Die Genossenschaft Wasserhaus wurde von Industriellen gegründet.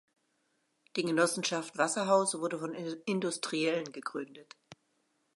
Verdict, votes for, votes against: rejected, 0, 2